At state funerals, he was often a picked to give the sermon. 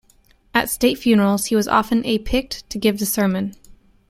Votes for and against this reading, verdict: 0, 2, rejected